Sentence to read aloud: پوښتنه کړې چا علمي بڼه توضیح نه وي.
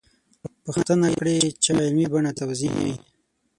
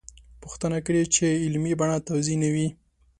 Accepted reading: second